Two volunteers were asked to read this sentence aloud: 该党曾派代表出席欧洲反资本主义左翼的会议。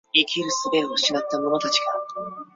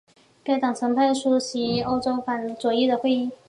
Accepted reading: second